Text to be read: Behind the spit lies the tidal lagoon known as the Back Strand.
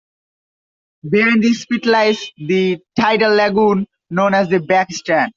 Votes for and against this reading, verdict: 1, 3, rejected